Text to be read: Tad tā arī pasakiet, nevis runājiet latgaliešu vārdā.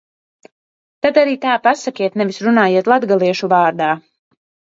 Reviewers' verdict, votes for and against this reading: rejected, 1, 2